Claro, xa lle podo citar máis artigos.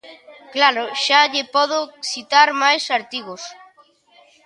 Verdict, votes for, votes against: rejected, 0, 2